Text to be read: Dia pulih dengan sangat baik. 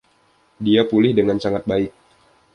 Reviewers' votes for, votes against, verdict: 2, 0, accepted